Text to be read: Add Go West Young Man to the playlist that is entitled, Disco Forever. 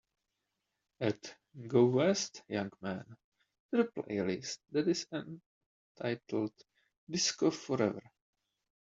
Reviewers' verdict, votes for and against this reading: rejected, 0, 2